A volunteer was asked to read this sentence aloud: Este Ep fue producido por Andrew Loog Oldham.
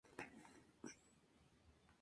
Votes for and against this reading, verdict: 0, 2, rejected